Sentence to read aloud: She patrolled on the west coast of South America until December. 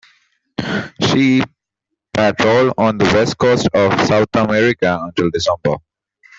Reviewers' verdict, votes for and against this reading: rejected, 0, 2